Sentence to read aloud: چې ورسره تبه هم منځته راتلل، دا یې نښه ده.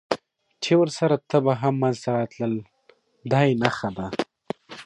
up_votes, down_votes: 3, 0